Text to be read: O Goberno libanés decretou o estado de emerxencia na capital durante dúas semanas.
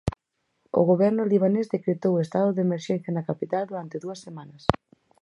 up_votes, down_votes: 4, 0